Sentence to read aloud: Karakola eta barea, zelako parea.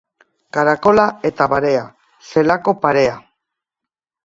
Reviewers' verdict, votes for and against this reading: accepted, 2, 0